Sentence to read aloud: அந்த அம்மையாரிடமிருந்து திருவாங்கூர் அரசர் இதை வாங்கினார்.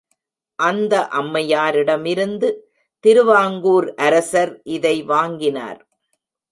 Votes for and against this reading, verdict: 2, 0, accepted